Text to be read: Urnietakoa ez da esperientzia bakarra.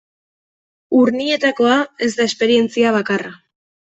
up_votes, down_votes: 2, 0